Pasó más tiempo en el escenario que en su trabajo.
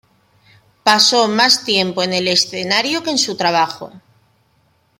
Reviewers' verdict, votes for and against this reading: rejected, 0, 2